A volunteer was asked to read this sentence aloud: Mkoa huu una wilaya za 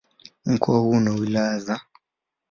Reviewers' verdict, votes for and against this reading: accepted, 2, 0